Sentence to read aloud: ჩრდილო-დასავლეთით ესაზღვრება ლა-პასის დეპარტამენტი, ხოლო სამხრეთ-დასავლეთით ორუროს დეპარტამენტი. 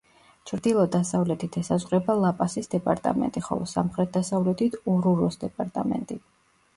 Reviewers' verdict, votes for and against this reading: rejected, 0, 2